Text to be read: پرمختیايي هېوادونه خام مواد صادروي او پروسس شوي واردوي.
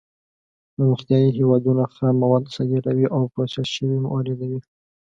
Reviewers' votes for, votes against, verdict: 2, 0, accepted